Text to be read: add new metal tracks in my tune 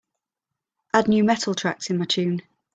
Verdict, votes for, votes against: accepted, 2, 0